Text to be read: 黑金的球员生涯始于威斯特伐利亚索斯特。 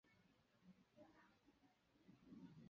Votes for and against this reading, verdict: 1, 6, rejected